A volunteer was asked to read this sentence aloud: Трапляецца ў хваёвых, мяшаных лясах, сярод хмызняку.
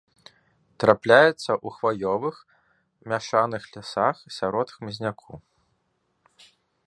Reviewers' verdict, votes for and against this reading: accepted, 2, 0